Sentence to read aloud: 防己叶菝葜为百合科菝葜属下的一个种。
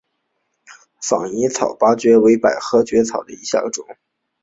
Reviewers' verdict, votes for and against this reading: rejected, 0, 4